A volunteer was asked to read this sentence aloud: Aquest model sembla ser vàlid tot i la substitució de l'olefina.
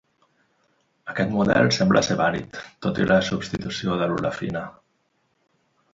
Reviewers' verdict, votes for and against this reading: accepted, 2, 1